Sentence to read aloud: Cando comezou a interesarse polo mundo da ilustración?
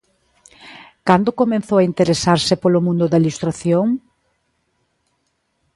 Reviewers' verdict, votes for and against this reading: accepted, 2, 0